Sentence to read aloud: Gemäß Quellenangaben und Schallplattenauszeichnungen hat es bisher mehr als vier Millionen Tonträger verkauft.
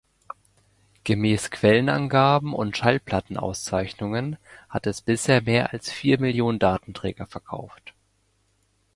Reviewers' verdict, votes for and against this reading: rejected, 0, 2